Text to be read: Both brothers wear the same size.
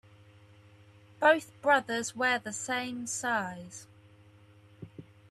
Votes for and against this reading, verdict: 2, 1, accepted